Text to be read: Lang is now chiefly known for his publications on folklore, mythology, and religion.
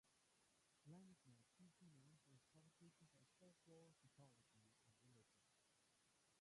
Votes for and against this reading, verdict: 0, 2, rejected